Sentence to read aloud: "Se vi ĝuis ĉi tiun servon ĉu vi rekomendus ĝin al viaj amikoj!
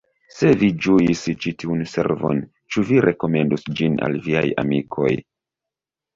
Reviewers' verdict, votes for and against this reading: accepted, 2, 0